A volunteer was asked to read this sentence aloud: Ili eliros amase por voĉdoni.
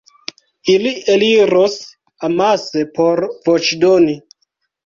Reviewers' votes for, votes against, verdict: 1, 2, rejected